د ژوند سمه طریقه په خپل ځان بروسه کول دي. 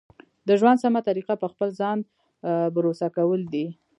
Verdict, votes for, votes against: rejected, 1, 2